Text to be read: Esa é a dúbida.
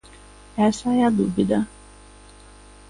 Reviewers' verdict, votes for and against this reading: accepted, 2, 0